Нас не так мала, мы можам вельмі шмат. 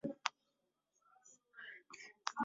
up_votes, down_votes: 0, 2